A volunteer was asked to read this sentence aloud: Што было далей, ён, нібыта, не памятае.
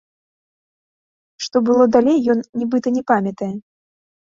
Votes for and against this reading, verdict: 2, 0, accepted